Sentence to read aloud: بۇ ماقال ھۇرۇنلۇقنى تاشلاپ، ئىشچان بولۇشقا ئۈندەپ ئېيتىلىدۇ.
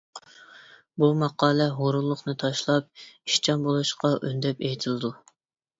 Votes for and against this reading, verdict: 1, 2, rejected